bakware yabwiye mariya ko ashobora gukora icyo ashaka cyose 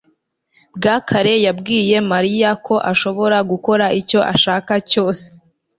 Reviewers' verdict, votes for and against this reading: accepted, 2, 0